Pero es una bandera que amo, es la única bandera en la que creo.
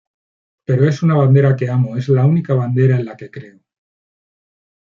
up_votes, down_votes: 2, 0